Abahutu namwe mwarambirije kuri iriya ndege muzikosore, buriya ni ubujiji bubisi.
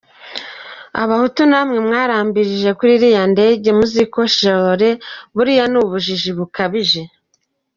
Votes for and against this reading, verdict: 1, 2, rejected